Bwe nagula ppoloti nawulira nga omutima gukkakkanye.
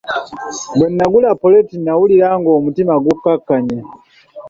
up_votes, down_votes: 2, 0